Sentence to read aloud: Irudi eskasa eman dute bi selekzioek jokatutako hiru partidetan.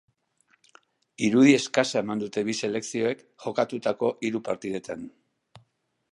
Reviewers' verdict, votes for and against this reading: accepted, 2, 0